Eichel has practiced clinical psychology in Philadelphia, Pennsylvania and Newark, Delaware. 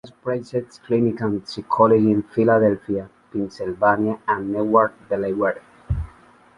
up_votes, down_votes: 0, 2